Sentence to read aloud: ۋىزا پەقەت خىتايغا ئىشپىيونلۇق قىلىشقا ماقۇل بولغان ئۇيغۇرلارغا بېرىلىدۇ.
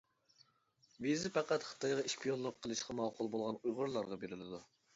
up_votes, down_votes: 0, 2